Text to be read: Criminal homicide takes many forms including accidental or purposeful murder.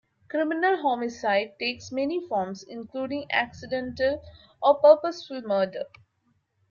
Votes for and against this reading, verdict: 2, 0, accepted